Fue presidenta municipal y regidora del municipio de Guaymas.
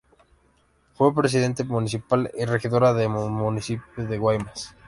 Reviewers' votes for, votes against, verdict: 0, 2, rejected